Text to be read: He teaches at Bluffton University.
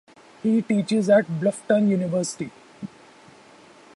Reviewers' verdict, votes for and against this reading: accepted, 2, 0